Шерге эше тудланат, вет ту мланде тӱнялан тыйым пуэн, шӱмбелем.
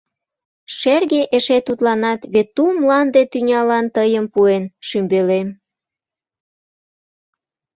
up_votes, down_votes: 2, 0